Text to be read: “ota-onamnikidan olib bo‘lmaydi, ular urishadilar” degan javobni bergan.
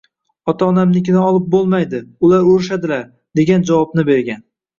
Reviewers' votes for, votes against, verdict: 0, 2, rejected